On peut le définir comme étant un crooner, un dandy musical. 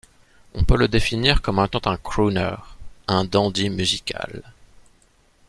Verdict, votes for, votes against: rejected, 1, 2